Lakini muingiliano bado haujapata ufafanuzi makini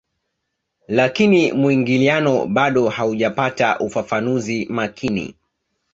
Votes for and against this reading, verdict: 2, 0, accepted